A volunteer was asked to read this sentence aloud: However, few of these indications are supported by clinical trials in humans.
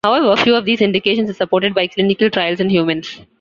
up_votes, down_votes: 2, 0